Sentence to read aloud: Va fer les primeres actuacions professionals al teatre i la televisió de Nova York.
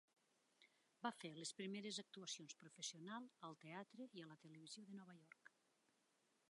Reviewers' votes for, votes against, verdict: 0, 2, rejected